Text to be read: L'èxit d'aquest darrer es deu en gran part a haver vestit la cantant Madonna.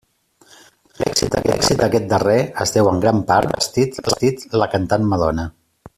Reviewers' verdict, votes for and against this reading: rejected, 0, 2